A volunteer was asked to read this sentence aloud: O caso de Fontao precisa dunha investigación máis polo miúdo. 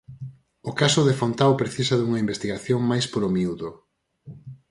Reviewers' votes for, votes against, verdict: 4, 0, accepted